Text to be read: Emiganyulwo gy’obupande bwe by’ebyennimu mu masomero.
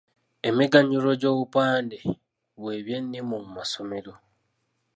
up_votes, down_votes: 0, 2